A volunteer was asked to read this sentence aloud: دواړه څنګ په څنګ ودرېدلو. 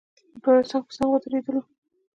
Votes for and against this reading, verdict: 0, 2, rejected